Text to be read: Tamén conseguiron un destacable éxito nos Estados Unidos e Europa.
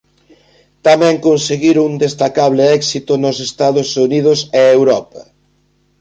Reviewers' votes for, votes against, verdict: 0, 2, rejected